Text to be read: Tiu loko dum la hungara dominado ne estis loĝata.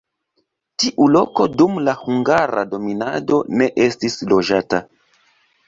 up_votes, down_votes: 2, 3